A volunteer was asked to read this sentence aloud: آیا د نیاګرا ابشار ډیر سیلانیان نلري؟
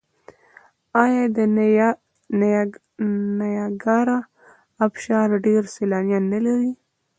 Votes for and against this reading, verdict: 1, 2, rejected